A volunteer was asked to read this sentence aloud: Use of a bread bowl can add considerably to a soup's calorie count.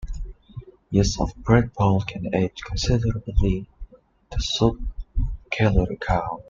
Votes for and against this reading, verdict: 0, 3, rejected